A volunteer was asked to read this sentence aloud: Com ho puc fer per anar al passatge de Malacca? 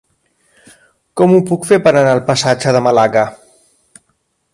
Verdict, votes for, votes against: rejected, 1, 2